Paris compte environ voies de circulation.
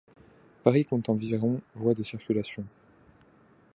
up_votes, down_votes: 1, 2